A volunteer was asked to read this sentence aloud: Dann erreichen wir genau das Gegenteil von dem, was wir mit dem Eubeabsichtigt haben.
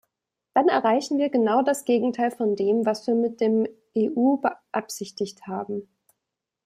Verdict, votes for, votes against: accepted, 2, 1